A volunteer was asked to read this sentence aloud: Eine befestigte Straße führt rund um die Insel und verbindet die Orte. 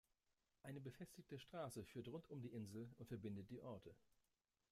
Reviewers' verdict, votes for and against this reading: accepted, 2, 0